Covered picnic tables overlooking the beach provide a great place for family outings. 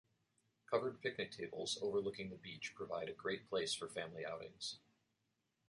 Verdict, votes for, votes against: rejected, 1, 2